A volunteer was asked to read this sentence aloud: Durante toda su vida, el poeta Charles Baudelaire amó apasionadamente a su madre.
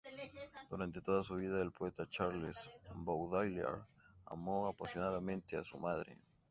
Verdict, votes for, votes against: accepted, 2, 0